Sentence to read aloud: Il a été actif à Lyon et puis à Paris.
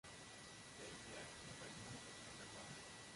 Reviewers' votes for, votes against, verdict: 0, 2, rejected